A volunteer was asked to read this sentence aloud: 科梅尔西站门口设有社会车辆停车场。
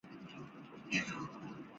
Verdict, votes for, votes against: rejected, 1, 4